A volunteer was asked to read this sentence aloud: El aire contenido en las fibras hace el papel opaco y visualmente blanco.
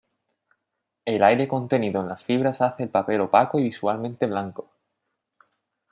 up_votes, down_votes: 2, 0